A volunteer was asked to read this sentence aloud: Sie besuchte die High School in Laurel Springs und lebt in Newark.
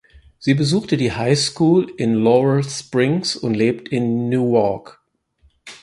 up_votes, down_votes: 4, 0